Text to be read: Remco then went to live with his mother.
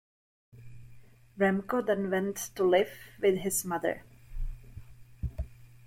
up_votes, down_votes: 2, 1